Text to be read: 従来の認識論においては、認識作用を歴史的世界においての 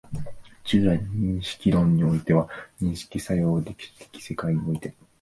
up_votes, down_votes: 0, 2